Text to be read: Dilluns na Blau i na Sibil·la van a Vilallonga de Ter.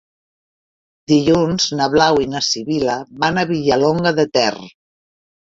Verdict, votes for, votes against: rejected, 1, 2